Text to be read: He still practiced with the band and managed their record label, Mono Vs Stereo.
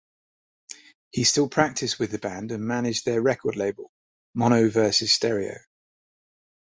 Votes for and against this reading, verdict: 2, 0, accepted